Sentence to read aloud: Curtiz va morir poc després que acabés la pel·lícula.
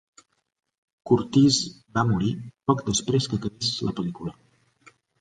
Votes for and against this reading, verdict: 2, 0, accepted